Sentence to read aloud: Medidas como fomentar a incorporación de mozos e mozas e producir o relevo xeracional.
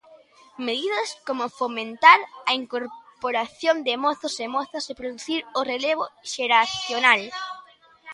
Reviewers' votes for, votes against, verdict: 2, 1, accepted